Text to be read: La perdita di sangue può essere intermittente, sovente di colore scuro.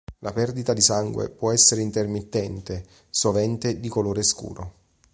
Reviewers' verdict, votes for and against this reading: accepted, 2, 0